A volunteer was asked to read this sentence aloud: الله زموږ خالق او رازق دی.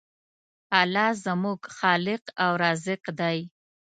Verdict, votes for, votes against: accepted, 2, 0